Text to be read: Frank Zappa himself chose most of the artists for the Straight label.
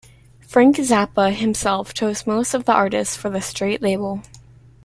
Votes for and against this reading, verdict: 3, 0, accepted